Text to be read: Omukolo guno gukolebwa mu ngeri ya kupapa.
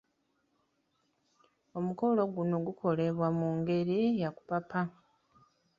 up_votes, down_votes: 2, 0